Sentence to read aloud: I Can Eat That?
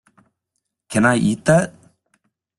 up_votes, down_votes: 0, 2